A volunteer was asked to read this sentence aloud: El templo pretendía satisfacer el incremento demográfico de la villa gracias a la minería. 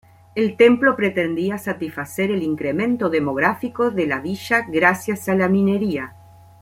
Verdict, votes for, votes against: accepted, 2, 0